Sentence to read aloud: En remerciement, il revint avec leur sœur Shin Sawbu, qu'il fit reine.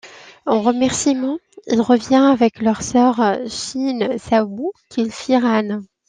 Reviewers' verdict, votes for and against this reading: rejected, 1, 2